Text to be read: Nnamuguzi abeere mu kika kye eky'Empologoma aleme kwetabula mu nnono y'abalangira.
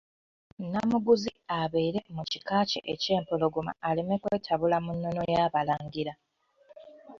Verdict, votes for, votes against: accepted, 2, 0